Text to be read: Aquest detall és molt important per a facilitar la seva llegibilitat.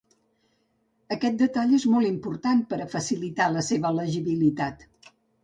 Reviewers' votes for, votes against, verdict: 0, 2, rejected